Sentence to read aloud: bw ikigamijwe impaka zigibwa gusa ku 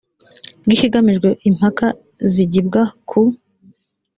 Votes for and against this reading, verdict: 1, 2, rejected